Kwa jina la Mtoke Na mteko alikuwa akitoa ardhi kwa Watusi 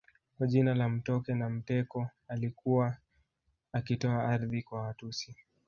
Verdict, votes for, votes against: accepted, 2, 1